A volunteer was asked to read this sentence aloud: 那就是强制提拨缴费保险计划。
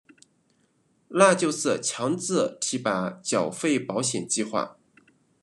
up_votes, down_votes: 1, 2